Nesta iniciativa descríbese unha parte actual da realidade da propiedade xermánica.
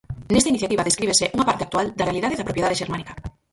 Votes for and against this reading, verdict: 0, 4, rejected